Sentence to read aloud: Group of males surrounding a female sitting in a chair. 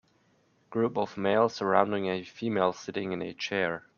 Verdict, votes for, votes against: accepted, 2, 0